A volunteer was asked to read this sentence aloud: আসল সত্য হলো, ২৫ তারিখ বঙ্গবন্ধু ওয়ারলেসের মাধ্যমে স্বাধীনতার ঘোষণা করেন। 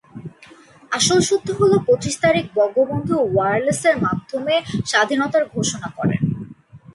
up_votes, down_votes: 0, 2